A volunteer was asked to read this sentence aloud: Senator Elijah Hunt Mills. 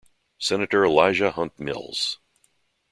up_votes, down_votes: 3, 0